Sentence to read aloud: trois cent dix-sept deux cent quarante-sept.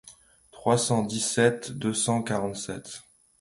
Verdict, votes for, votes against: accepted, 2, 0